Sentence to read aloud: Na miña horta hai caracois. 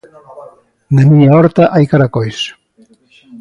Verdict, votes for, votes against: accepted, 2, 0